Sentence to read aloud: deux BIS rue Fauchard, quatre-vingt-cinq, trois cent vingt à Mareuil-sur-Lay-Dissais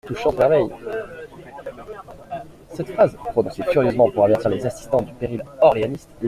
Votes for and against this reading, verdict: 0, 2, rejected